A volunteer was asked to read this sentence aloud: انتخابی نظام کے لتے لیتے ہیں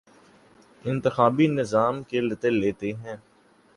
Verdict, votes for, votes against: accepted, 5, 0